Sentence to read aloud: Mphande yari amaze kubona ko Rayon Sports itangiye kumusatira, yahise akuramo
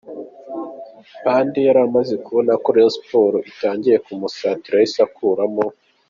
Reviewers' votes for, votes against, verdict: 2, 0, accepted